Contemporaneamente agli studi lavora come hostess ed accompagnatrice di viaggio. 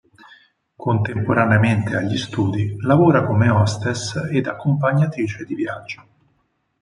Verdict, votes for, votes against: accepted, 4, 0